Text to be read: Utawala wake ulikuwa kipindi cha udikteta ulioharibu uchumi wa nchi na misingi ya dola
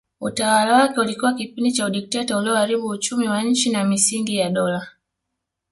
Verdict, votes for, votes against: accepted, 2, 0